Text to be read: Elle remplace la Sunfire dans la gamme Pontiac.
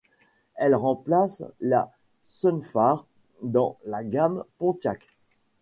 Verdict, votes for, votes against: rejected, 1, 2